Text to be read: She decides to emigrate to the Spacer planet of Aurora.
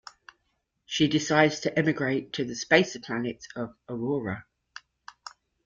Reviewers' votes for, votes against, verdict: 2, 0, accepted